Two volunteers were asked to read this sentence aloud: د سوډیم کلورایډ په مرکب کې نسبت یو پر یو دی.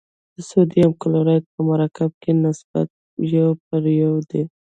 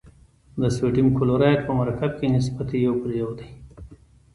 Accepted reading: second